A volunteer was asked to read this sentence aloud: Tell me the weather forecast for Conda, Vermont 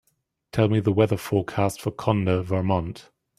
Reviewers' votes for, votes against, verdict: 2, 0, accepted